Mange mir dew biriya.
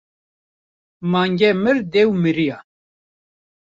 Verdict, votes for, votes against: rejected, 1, 2